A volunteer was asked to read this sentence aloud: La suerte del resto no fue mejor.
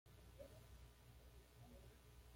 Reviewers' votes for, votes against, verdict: 1, 2, rejected